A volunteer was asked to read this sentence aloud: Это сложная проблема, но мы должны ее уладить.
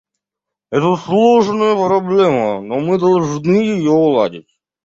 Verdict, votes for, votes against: rejected, 0, 2